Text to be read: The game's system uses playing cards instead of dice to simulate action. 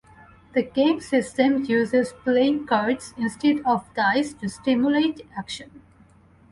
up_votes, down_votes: 2, 2